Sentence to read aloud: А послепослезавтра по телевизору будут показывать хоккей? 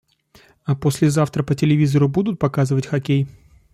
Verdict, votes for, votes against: rejected, 0, 2